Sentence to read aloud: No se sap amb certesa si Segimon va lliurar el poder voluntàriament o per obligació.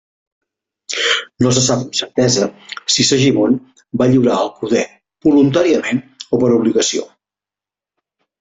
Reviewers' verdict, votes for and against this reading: rejected, 0, 2